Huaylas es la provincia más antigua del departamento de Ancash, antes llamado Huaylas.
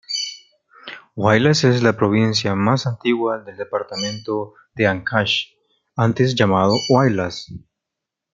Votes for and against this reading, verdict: 2, 1, accepted